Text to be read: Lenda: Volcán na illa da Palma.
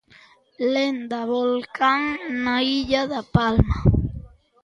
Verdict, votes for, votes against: accepted, 2, 0